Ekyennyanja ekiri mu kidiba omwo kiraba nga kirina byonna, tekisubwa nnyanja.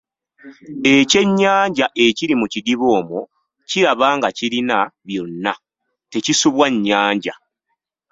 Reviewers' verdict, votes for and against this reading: rejected, 1, 2